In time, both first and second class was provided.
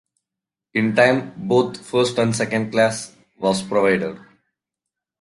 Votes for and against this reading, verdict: 2, 1, accepted